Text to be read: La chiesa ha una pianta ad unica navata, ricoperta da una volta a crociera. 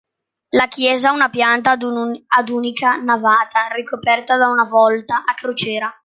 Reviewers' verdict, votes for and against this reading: rejected, 0, 2